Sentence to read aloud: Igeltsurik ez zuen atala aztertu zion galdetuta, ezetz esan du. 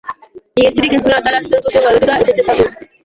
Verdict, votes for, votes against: rejected, 0, 2